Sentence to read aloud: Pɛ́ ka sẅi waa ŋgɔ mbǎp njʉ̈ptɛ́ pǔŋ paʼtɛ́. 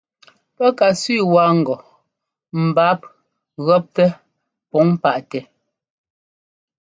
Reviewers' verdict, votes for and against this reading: rejected, 0, 2